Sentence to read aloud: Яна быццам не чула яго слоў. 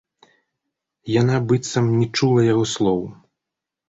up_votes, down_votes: 0, 2